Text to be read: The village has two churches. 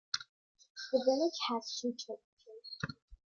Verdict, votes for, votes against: accepted, 2, 0